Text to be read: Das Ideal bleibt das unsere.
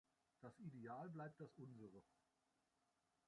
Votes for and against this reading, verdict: 0, 2, rejected